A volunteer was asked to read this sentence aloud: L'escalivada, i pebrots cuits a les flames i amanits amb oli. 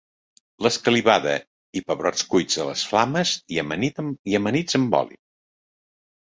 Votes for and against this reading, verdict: 0, 2, rejected